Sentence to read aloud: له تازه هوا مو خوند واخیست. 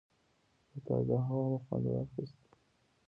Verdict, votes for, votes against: accepted, 2, 1